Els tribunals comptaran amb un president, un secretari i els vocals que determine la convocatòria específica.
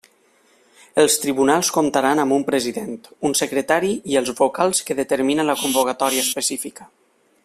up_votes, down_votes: 2, 1